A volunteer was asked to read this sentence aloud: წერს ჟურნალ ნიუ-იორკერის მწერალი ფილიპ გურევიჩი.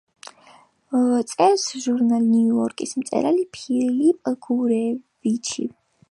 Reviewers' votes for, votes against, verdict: 1, 2, rejected